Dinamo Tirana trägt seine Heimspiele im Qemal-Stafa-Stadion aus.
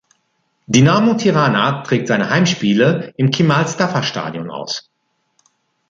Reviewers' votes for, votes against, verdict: 2, 0, accepted